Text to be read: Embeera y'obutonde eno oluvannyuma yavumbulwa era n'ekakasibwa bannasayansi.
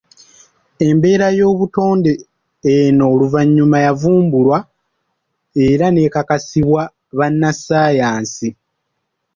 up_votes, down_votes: 2, 1